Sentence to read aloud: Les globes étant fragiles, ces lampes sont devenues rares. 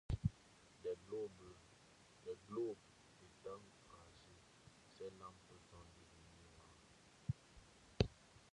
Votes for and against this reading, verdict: 0, 2, rejected